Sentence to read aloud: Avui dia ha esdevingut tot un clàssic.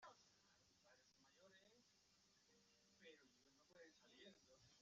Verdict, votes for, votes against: rejected, 0, 2